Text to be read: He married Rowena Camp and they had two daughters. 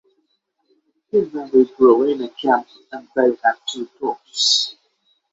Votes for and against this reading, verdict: 6, 6, rejected